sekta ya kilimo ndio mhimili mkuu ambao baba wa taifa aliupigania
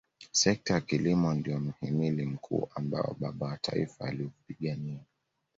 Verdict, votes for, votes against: accepted, 2, 0